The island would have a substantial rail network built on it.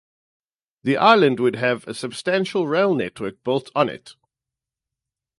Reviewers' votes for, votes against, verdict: 2, 0, accepted